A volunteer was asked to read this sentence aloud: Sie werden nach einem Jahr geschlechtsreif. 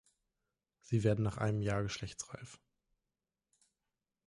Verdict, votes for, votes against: accepted, 3, 0